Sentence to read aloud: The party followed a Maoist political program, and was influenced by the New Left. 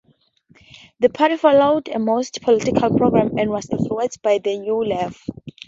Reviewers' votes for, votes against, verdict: 2, 0, accepted